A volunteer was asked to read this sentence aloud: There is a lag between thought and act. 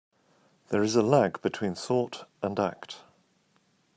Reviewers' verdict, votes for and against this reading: accepted, 2, 1